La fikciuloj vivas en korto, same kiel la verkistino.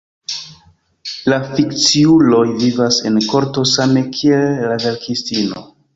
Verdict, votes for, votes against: accepted, 2, 1